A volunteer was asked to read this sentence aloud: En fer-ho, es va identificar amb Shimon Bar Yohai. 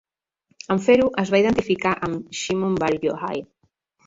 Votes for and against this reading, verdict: 1, 2, rejected